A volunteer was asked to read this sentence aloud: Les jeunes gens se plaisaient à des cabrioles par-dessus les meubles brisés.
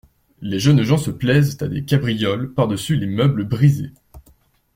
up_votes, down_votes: 1, 2